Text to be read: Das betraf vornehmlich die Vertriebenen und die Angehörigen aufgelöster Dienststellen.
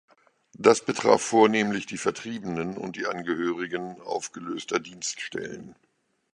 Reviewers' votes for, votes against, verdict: 3, 0, accepted